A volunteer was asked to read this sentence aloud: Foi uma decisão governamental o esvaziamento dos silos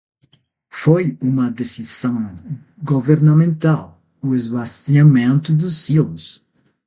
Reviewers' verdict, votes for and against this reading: rejected, 0, 6